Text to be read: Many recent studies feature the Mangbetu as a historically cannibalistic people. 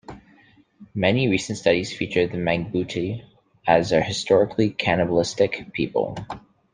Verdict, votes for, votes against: accepted, 2, 0